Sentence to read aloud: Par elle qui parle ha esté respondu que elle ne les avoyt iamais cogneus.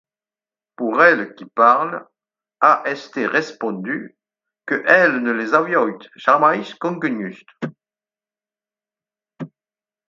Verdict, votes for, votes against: rejected, 2, 4